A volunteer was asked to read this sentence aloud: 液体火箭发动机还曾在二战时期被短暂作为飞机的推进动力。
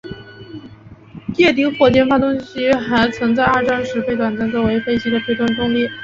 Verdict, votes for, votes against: accepted, 2, 0